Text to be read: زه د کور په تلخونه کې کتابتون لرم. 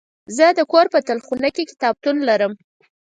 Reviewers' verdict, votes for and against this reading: accepted, 4, 0